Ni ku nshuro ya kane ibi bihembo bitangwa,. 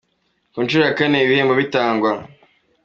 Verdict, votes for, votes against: accepted, 2, 0